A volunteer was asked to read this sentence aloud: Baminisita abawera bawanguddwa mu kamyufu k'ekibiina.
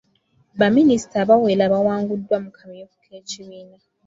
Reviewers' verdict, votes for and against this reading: accepted, 2, 0